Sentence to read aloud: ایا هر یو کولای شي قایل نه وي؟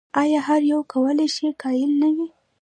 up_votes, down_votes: 0, 2